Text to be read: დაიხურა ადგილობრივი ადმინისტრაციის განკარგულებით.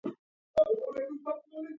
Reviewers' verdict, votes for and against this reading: rejected, 0, 2